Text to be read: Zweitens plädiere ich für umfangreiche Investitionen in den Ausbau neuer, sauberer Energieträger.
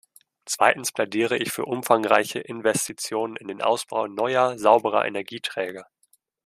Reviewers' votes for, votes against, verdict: 2, 0, accepted